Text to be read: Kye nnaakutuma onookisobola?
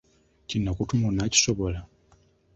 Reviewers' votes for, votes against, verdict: 2, 1, accepted